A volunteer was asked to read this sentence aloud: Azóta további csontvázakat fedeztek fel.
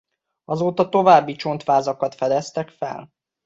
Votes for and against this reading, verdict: 2, 0, accepted